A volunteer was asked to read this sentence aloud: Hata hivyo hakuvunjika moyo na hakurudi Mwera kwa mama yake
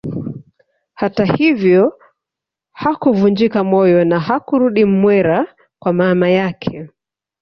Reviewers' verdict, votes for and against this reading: accepted, 2, 0